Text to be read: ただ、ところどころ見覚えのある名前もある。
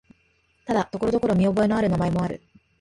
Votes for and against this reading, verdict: 6, 0, accepted